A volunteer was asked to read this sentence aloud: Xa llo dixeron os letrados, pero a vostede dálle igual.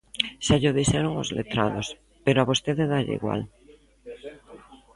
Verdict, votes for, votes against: rejected, 1, 2